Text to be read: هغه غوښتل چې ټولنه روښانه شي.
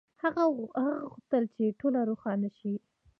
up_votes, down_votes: 1, 2